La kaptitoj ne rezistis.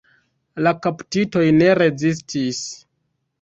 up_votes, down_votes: 2, 1